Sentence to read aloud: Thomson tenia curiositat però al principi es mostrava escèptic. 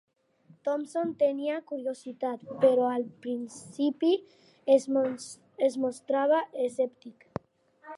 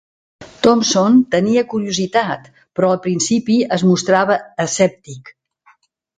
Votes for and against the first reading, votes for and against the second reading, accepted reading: 0, 2, 2, 0, second